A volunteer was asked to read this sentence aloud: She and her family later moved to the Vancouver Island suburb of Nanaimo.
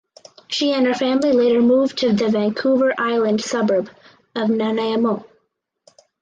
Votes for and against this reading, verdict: 4, 0, accepted